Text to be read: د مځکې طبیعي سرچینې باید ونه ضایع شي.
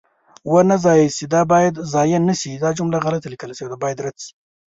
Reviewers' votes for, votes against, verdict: 0, 2, rejected